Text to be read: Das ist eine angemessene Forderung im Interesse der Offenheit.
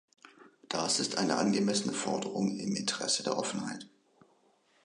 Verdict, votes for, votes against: accepted, 2, 1